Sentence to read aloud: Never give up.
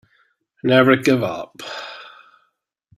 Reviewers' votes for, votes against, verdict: 2, 0, accepted